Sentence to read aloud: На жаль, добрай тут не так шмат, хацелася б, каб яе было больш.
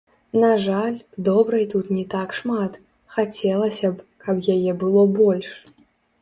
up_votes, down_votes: 1, 2